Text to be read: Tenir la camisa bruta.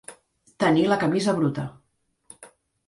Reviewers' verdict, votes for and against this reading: accepted, 2, 0